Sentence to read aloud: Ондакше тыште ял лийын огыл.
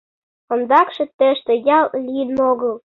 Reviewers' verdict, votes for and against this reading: accepted, 2, 0